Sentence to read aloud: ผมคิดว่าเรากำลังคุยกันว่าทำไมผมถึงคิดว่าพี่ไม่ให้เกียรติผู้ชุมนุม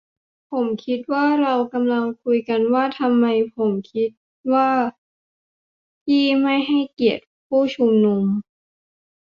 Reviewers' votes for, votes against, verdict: 0, 2, rejected